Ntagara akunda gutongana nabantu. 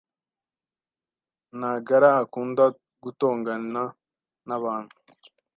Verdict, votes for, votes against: accepted, 2, 0